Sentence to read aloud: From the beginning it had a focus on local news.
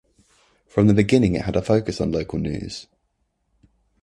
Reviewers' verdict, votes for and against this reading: rejected, 1, 2